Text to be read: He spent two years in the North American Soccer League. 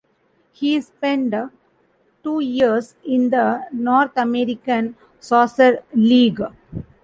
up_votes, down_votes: 0, 2